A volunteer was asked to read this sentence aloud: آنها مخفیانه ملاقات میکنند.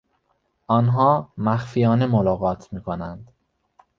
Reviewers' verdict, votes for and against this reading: accepted, 2, 0